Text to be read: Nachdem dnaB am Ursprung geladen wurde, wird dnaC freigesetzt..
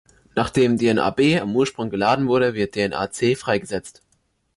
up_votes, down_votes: 2, 0